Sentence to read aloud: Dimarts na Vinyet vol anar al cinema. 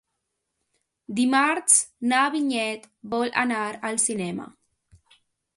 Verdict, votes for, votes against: accepted, 2, 0